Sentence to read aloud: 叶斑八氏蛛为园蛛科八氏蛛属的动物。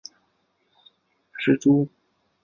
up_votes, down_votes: 1, 2